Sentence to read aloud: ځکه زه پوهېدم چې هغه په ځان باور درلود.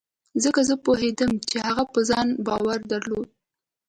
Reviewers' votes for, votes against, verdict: 2, 0, accepted